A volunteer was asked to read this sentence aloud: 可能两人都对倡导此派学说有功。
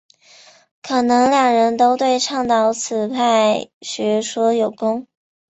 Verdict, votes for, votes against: accepted, 2, 0